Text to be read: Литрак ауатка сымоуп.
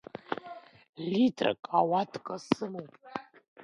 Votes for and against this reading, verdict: 2, 0, accepted